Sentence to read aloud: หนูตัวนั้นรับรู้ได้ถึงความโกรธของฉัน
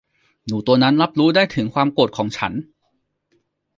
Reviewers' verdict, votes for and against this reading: rejected, 1, 2